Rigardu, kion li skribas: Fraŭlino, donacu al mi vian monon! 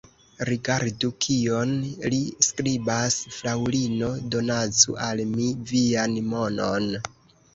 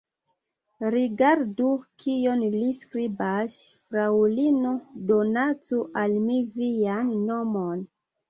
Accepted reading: second